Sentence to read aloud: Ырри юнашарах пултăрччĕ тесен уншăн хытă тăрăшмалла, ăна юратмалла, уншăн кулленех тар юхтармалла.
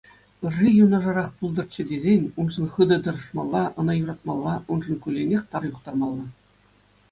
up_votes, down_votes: 2, 0